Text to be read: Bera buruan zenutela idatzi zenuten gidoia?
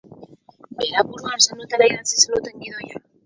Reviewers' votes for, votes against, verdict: 2, 4, rejected